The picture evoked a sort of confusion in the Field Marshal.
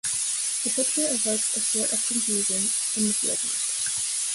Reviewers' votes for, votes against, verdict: 0, 2, rejected